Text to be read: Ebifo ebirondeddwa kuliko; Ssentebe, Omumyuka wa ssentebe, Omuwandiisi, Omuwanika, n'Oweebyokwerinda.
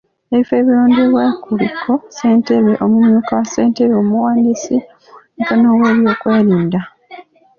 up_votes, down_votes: 1, 2